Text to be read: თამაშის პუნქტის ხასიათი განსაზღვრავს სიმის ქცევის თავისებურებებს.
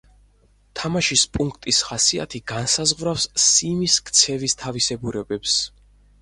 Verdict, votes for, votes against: accepted, 4, 0